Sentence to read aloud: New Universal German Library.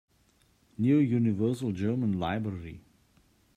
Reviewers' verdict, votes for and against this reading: accepted, 2, 0